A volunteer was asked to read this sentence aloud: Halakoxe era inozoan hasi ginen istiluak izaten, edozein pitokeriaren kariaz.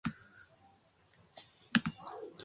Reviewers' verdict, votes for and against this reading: rejected, 0, 2